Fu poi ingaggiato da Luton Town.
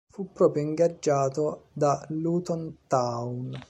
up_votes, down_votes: 1, 2